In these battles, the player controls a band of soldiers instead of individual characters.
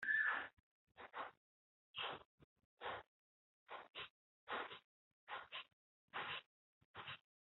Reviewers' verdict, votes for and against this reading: rejected, 0, 2